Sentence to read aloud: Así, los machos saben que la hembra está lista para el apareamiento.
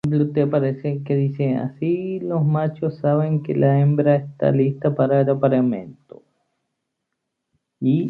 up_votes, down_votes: 0, 2